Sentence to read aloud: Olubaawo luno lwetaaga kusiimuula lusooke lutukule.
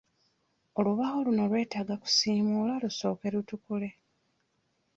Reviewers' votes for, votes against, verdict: 2, 0, accepted